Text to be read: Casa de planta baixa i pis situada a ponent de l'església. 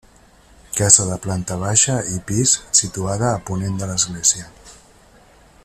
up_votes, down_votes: 1, 2